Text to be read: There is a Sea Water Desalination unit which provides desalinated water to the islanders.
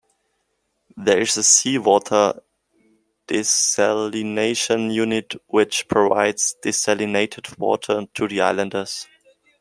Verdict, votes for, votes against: accepted, 2, 0